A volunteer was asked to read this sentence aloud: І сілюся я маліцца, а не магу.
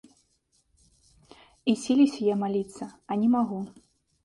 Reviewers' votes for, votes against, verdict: 3, 0, accepted